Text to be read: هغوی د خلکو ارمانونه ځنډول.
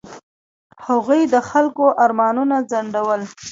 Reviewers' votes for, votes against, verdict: 3, 0, accepted